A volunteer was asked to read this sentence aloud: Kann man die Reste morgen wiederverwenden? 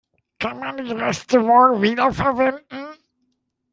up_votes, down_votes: 2, 0